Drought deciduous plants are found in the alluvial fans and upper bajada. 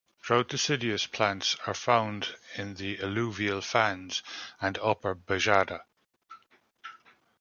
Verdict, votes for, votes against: rejected, 0, 2